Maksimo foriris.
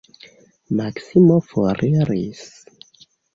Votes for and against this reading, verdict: 2, 0, accepted